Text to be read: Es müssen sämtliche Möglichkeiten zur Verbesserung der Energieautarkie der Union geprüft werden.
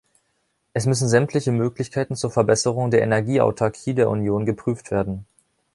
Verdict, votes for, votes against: accepted, 2, 0